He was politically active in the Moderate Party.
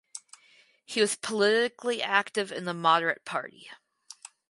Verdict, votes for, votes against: rejected, 0, 2